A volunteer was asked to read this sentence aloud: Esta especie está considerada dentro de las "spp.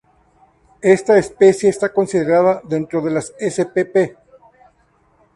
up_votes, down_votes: 2, 0